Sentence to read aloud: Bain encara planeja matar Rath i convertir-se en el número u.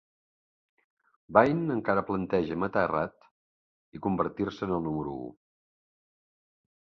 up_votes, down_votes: 3, 0